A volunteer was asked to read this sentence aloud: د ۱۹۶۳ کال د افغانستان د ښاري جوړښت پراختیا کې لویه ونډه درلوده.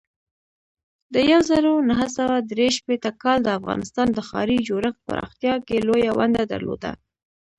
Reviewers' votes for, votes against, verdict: 0, 2, rejected